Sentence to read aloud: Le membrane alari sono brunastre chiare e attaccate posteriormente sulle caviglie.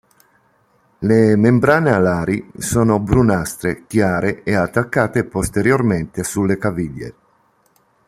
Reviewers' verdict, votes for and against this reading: accepted, 2, 0